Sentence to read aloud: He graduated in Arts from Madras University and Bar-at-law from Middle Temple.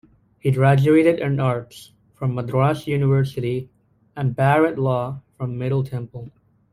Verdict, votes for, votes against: accepted, 2, 0